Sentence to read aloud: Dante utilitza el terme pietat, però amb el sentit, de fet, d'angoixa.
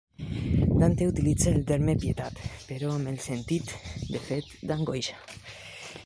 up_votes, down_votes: 1, 2